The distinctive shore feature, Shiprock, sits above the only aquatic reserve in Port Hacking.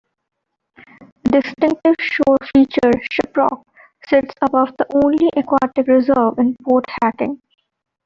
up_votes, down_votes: 1, 2